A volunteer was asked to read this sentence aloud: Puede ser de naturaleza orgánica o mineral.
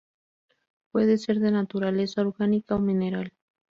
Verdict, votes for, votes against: accepted, 2, 0